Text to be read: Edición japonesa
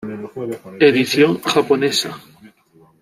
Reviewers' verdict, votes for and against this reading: rejected, 1, 2